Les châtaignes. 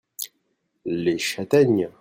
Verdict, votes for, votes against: accepted, 2, 0